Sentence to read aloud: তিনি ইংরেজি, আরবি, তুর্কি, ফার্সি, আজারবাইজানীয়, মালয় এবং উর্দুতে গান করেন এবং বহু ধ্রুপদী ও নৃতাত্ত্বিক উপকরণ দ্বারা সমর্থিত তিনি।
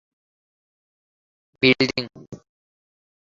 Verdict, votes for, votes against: rejected, 0, 2